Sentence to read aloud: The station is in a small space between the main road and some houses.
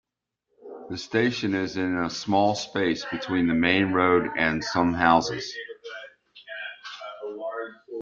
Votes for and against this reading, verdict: 0, 2, rejected